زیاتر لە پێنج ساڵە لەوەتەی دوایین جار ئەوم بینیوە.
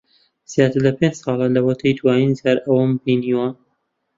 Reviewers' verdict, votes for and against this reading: accepted, 2, 0